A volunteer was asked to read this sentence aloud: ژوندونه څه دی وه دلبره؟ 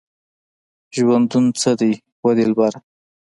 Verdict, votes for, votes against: accepted, 2, 0